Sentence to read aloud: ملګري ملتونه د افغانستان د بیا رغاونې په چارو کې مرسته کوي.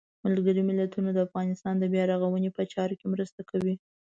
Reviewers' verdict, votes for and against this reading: accepted, 2, 0